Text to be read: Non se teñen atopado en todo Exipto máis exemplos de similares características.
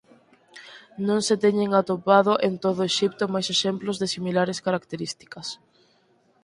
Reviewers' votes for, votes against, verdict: 4, 2, accepted